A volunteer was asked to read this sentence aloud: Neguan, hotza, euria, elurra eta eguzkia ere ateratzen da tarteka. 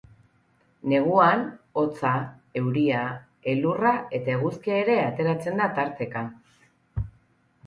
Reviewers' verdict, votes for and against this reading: accepted, 4, 0